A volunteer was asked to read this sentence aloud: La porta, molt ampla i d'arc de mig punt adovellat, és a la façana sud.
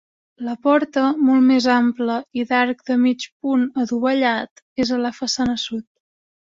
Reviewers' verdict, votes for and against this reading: rejected, 0, 2